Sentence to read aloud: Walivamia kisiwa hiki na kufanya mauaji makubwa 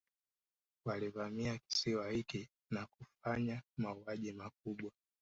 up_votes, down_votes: 3, 0